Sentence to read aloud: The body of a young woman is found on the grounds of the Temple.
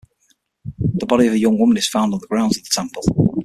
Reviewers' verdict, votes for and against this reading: rejected, 3, 6